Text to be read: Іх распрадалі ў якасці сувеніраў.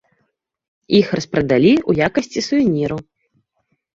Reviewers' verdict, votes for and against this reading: accepted, 2, 0